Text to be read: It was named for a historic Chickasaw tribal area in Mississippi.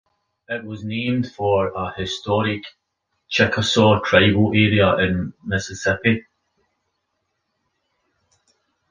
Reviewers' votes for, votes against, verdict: 2, 0, accepted